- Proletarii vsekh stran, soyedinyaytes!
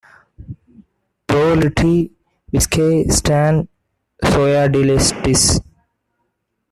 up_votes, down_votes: 0, 2